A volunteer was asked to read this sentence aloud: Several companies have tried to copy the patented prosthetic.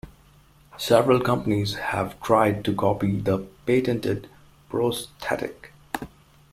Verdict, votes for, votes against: rejected, 1, 2